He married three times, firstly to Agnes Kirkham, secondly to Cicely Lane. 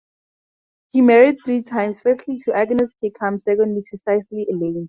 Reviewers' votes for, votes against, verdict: 0, 2, rejected